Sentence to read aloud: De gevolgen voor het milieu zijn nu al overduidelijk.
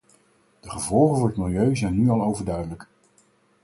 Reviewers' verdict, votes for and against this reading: accepted, 4, 0